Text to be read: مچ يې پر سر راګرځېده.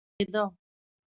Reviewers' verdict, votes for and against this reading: rejected, 0, 2